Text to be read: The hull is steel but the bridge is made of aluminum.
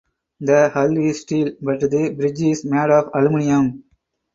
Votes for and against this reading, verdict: 0, 4, rejected